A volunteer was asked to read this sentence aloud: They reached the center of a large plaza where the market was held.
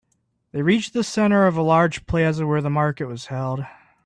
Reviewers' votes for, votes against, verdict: 5, 0, accepted